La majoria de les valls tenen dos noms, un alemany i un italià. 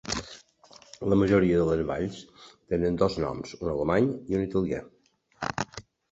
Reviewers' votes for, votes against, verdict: 3, 0, accepted